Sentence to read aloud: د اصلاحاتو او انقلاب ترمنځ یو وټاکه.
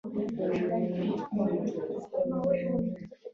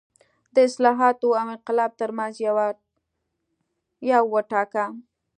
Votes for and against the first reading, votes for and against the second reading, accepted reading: 0, 2, 2, 0, second